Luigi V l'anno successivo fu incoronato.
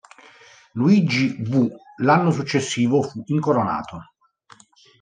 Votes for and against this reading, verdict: 0, 2, rejected